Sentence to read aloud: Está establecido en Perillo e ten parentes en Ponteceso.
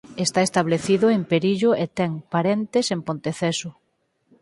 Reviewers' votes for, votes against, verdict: 4, 0, accepted